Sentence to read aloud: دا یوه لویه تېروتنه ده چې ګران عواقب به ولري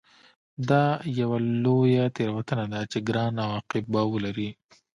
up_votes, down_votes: 2, 0